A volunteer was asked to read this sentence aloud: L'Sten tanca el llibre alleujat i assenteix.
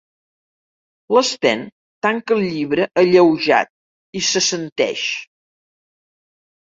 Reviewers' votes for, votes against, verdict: 0, 2, rejected